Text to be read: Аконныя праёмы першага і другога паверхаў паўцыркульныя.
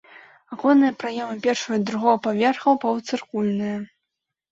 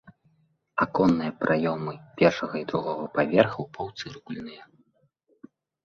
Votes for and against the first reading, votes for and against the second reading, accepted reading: 1, 2, 2, 0, second